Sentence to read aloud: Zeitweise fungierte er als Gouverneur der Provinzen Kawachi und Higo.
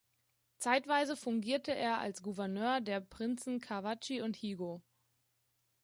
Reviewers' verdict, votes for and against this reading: rejected, 0, 2